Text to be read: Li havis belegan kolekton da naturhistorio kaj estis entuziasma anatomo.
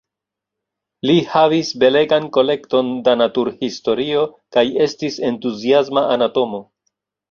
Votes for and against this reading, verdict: 0, 2, rejected